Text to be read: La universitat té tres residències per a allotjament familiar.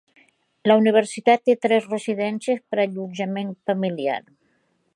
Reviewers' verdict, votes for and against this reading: accepted, 2, 0